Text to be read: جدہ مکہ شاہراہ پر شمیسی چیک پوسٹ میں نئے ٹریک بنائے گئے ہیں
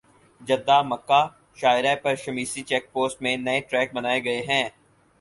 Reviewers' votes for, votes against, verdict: 6, 0, accepted